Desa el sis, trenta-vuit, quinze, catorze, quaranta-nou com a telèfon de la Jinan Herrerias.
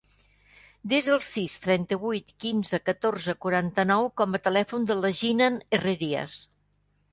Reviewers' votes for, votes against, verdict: 2, 0, accepted